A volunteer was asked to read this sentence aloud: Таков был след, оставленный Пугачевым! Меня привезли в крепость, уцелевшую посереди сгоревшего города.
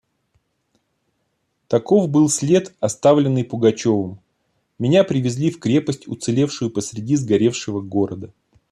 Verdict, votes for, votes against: accepted, 2, 0